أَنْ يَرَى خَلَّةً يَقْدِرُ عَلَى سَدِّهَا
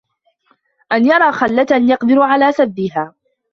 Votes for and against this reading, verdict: 1, 2, rejected